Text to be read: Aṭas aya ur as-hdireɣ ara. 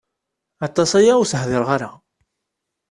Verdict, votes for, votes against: accepted, 2, 0